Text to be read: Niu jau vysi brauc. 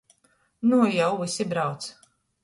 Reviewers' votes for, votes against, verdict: 0, 2, rejected